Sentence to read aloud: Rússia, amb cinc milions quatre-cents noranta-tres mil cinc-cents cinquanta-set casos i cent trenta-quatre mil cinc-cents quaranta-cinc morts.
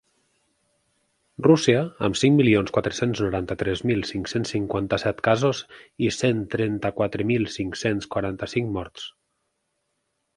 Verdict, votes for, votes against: accepted, 4, 0